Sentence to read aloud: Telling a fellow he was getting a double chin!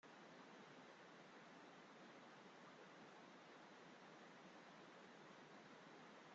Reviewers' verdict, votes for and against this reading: rejected, 0, 2